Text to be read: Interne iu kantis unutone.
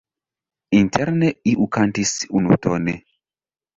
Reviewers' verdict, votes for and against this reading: rejected, 0, 2